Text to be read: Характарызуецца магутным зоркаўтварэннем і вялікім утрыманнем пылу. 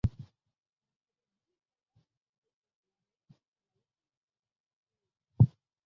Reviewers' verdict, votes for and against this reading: rejected, 0, 2